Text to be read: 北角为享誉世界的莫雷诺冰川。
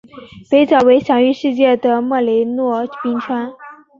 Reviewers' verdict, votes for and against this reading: accepted, 2, 0